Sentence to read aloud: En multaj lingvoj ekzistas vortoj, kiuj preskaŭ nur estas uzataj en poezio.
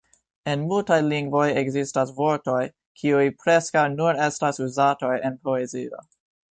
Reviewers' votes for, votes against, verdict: 2, 0, accepted